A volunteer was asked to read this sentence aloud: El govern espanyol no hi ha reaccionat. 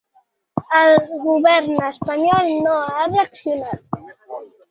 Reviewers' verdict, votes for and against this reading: rejected, 0, 2